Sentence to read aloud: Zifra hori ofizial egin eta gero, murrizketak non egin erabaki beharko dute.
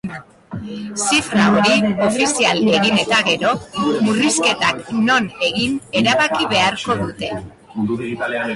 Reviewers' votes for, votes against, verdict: 0, 2, rejected